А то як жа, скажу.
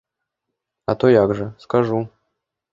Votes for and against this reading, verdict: 2, 0, accepted